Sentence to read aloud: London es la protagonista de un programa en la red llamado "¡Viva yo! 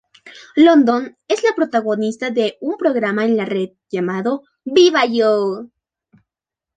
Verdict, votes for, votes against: accepted, 2, 0